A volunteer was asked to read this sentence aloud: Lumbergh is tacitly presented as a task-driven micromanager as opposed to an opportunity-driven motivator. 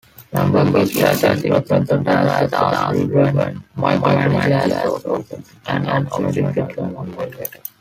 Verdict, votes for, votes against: rejected, 0, 2